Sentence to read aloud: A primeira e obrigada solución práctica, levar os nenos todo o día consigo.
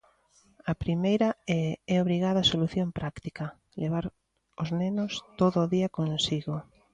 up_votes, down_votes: 0, 2